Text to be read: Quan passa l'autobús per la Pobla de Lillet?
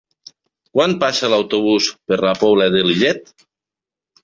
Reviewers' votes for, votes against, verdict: 3, 0, accepted